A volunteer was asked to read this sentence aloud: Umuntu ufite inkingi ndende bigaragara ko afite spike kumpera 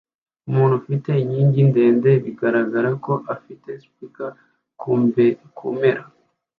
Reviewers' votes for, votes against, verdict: 0, 2, rejected